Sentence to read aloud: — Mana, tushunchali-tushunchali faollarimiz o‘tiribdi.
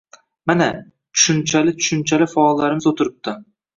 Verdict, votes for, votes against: rejected, 1, 2